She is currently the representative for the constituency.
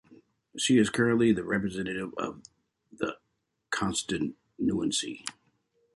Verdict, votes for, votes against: rejected, 0, 2